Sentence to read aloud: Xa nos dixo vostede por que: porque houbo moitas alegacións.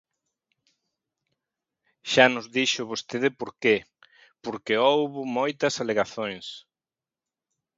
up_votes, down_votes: 0, 2